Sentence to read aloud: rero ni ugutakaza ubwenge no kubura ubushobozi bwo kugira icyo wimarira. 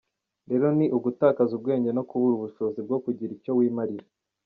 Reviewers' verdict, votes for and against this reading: accepted, 2, 1